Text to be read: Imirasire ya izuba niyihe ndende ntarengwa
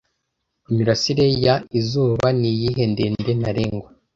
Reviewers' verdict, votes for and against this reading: accepted, 2, 0